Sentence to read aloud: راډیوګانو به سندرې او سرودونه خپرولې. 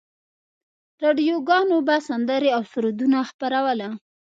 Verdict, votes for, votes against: rejected, 0, 2